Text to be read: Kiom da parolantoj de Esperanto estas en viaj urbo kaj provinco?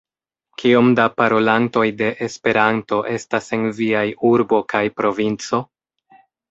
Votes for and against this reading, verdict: 2, 0, accepted